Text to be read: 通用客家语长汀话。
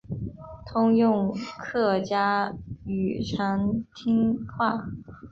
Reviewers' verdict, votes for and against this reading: accepted, 3, 0